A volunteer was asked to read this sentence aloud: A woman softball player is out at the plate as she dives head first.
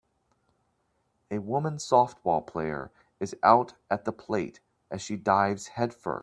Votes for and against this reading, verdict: 1, 2, rejected